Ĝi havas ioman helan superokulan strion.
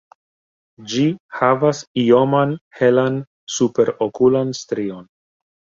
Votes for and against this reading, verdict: 2, 0, accepted